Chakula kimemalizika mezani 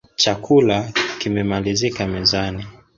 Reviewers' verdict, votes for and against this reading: accepted, 3, 0